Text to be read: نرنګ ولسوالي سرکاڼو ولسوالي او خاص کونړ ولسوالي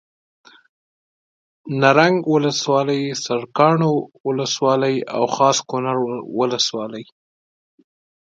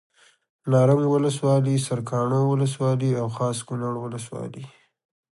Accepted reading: second